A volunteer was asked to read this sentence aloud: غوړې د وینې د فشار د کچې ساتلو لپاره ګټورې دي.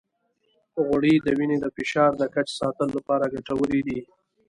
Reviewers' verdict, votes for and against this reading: accepted, 2, 0